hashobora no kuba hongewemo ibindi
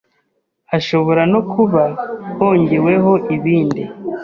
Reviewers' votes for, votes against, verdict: 2, 0, accepted